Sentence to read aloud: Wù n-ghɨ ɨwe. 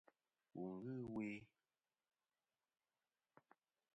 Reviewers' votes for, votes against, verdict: 0, 2, rejected